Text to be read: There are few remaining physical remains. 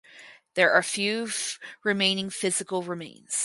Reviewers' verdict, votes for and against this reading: rejected, 2, 4